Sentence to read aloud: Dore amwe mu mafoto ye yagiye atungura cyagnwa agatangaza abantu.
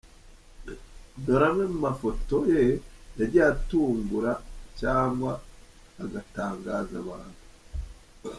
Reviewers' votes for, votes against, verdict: 2, 0, accepted